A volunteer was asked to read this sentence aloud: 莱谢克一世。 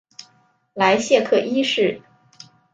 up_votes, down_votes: 3, 0